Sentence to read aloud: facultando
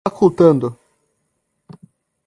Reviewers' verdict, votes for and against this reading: rejected, 1, 2